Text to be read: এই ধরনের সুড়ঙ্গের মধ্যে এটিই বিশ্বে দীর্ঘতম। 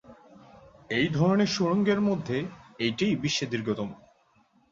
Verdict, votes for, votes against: accepted, 7, 0